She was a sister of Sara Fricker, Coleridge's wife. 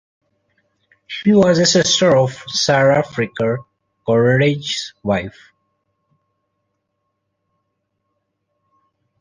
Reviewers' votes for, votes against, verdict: 2, 0, accepted